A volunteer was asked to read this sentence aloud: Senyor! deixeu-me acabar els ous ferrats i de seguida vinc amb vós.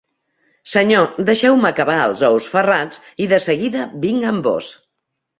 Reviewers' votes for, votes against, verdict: 2, 0, accepted